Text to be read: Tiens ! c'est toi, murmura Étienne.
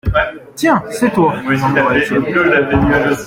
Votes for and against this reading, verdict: 1, 2, rejected